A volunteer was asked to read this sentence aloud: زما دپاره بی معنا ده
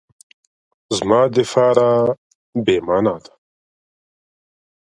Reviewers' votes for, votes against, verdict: 0, 2, rejected